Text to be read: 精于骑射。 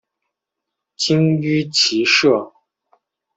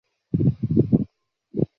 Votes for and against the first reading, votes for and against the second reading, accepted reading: 2, 0, 1, 4, first